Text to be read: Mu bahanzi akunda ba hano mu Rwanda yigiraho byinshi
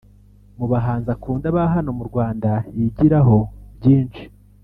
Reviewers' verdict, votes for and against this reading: rejected, 1, 2